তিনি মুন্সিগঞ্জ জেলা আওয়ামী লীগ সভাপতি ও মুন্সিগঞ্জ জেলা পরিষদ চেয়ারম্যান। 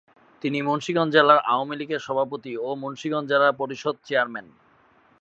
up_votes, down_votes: 1, 2